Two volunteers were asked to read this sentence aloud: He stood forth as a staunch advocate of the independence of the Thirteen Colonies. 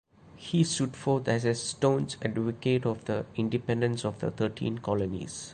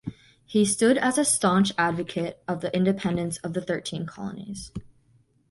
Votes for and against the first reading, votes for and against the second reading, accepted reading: 2, 0, 0, 2, first